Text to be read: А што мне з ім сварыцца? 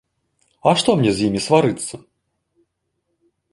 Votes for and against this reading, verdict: 1, 2, rejected